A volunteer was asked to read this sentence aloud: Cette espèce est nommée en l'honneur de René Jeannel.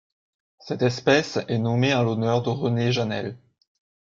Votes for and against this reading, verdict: 1, 2, rejected